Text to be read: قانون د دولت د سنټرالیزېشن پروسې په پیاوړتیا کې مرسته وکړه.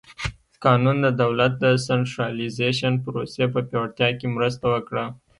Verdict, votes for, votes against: rejected, 0, 2